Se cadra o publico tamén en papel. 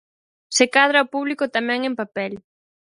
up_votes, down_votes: 0, 4